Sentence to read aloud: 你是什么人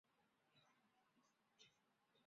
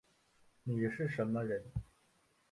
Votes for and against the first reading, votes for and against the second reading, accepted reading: 0, 2, 2, 0, second